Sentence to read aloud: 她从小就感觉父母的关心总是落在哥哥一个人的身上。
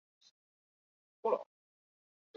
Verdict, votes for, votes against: rejected, 0, 3